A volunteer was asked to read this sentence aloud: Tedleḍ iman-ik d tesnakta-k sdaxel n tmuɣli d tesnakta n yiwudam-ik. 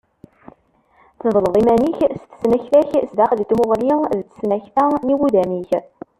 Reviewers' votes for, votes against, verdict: 1, 2, rejected